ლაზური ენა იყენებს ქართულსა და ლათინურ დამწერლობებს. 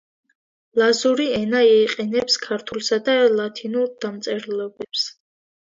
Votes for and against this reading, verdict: 2, 1, accepted